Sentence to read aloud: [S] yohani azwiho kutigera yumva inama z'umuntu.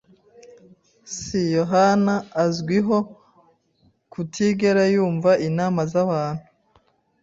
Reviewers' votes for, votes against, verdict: 0, 2, rejected